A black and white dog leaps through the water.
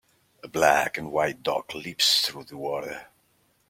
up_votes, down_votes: 2, 0